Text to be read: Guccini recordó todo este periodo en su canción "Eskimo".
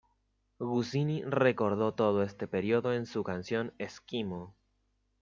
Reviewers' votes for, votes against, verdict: 1, 2, rejected